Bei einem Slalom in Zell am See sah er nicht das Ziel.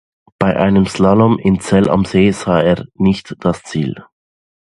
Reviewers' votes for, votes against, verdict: 2, 0, accepted